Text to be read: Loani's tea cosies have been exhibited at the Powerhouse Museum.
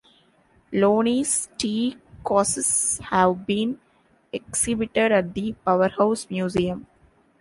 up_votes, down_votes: 0, 2